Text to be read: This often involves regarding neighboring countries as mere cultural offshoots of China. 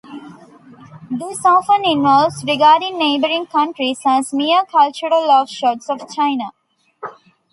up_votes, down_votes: 1, 2